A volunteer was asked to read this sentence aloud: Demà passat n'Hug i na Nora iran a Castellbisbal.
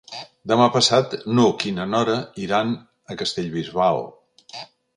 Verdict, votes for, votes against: accepted, 3, 0